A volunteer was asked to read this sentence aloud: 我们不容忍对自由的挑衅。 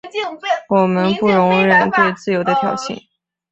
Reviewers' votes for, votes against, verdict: 3, 1, accepted